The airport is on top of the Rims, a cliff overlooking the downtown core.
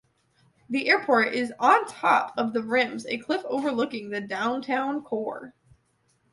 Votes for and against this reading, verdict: 2, 0, accepted